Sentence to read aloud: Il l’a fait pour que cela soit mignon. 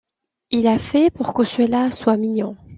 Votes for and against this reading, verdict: 2, 0, accepted